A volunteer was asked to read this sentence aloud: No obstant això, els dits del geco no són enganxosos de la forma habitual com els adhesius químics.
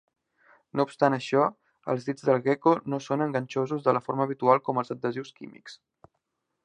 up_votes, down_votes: 3, 0